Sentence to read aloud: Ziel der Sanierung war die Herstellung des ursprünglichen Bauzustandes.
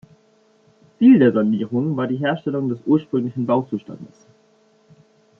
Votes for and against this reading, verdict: 2, 0, accepted